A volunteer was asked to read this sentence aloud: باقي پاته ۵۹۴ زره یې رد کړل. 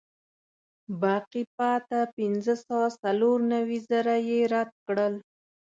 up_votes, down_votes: 0, 2